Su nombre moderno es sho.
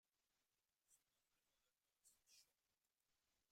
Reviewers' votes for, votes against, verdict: 0, 2, rejected